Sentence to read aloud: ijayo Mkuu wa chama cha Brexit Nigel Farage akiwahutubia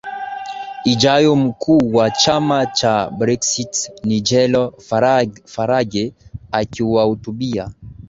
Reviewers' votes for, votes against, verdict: 2, 0, accepted